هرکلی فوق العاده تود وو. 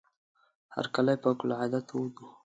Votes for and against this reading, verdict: 2, 0, accepted